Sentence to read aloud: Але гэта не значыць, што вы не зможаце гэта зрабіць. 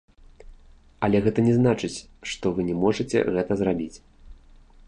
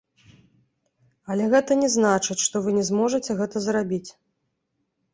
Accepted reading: second